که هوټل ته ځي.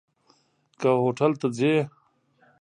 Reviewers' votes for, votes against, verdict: 0, 2, rejected